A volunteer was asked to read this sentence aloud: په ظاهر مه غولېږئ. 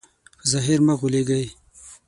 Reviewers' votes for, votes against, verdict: 0, 6, rejected